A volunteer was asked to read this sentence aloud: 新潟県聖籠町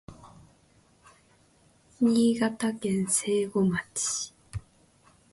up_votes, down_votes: 2, 0